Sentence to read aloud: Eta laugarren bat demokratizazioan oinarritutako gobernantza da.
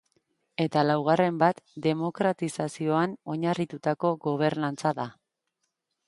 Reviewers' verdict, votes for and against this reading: accepted, 3, 1